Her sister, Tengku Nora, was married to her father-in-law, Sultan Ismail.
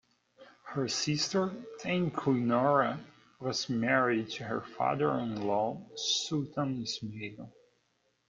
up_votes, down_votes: 2, 0